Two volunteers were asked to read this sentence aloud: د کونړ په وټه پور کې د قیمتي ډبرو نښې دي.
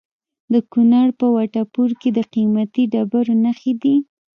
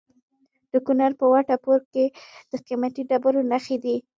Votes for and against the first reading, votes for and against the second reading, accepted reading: 2, 0, 1, 2, first